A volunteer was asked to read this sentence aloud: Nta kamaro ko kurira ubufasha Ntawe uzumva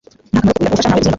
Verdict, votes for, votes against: rejected, 1, 2